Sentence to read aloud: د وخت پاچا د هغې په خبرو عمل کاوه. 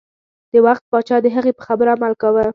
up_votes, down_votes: 2, 0